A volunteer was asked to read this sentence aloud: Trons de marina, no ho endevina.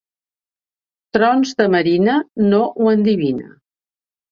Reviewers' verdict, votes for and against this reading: rejected, 1, 2